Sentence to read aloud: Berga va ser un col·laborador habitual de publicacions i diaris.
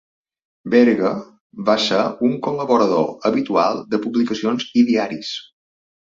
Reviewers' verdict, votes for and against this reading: rejected, 1, 2